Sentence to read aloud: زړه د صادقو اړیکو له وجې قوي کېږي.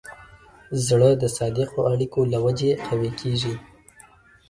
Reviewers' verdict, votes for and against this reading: rejected, 1, 2